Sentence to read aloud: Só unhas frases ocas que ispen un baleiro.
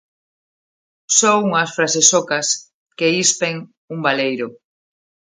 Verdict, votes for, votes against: accepted, 2, 0